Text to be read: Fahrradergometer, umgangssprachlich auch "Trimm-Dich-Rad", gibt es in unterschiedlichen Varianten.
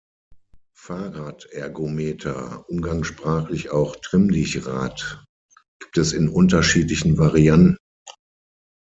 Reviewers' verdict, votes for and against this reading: rejected, 3, 6